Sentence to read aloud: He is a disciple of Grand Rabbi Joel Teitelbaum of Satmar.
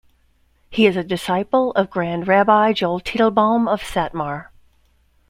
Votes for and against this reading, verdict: 2, 0, accepted